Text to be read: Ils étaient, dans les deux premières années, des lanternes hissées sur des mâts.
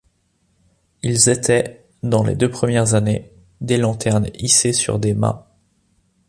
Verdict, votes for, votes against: accepted, 2, 0